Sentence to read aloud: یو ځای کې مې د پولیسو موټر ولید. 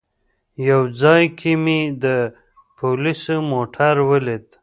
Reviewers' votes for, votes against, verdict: 0, 2, rejected